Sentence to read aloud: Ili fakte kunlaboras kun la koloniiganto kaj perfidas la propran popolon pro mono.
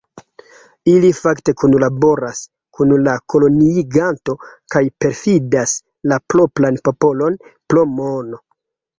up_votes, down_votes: 1, 2